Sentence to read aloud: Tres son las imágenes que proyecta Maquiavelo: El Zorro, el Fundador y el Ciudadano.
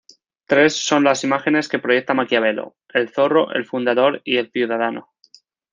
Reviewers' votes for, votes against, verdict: 2, 0, accepted